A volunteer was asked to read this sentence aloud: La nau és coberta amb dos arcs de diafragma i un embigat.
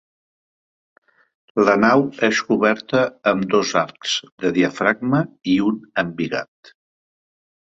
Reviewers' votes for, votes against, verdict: 2, 0, accepted